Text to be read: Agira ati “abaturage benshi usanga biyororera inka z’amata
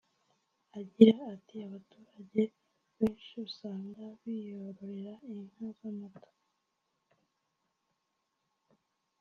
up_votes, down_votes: 0, 2